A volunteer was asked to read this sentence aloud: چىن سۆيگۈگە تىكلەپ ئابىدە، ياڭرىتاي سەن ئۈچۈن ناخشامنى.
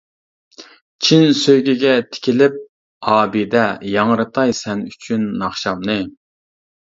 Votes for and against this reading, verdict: 0, 2, rejected